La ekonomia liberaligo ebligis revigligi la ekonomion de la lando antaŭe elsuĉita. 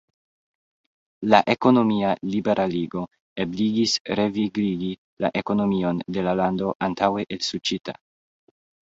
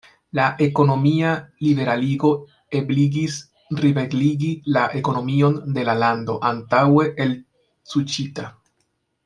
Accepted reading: first